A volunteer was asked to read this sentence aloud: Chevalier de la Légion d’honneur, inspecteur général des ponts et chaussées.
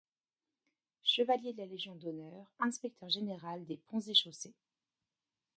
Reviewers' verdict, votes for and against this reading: rejected, 1, 2